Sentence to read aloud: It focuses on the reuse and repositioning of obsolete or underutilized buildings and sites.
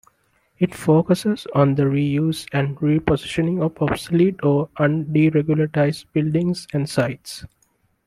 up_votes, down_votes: 1, 2